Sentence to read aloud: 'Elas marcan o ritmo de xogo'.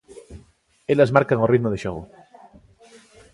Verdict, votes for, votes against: accepted, 2, 1